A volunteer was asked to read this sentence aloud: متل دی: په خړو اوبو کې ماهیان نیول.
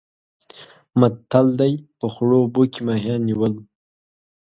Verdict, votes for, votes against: accepted, 3, 0